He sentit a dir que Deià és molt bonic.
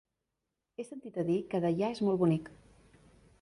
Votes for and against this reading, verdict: 0, 2, rejected